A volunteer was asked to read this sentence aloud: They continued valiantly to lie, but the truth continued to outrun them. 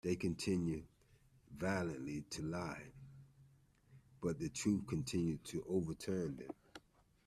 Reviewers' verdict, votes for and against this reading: rejected, 0, 2